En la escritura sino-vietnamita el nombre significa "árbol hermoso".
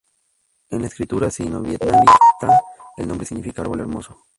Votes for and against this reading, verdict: 0, 4, rejected